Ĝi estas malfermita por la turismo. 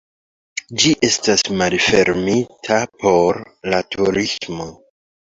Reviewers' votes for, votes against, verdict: 3, 1, accepted